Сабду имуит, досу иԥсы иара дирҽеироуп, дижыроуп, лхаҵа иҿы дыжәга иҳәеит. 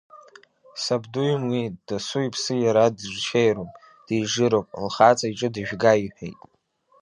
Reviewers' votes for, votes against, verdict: 2, 0, accepted